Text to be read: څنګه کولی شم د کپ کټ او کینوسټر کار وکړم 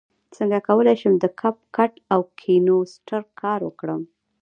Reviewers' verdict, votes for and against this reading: rejected, 0, 2